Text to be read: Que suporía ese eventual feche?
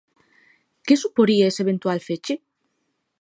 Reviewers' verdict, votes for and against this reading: accepted, 2, 0